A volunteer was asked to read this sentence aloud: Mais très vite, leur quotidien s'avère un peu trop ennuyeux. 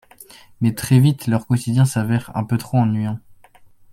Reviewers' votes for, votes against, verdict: 1, 2, rejected